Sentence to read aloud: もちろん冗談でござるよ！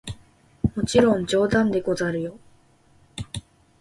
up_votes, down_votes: 2, 0